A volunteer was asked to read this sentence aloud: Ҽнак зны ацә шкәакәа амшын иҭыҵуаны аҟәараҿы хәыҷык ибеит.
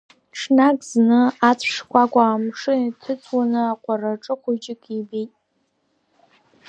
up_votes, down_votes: 2, 0